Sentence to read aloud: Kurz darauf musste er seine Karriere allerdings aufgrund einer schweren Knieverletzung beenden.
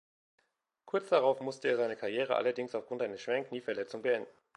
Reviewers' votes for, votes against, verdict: 2, 0, accepted